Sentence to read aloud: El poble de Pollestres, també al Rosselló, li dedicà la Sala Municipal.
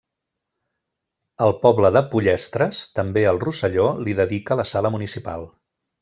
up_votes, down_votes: 1, 2